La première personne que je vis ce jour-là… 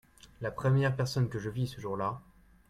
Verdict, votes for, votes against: accepted, 2, 0